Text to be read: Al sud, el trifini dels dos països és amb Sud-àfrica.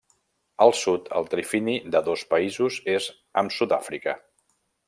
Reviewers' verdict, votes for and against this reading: rejected, 1, 2